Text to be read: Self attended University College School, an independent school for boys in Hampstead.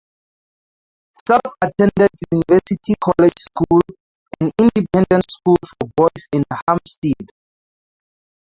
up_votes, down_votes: 2, 0